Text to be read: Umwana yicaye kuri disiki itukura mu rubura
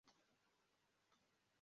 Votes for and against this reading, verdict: 0, 2, rejected